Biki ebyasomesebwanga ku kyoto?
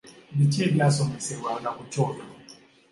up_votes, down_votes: 2, 0